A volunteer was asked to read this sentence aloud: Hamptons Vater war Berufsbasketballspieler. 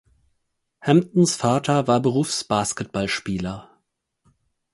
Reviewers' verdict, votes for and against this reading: accepted, 4, 0